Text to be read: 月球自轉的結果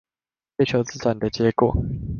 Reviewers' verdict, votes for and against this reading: accepted, 2, 0